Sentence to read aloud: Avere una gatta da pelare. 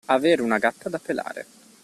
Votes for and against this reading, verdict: 2, 0, accepted